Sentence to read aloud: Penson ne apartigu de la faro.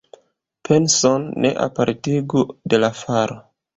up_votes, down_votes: 2, 0